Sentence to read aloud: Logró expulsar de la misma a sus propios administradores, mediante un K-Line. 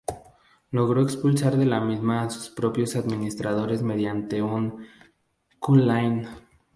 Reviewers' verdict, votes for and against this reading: rejected, 0, 2